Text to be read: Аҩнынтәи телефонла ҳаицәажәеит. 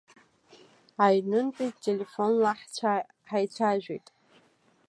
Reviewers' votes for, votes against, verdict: 2, 0, accepted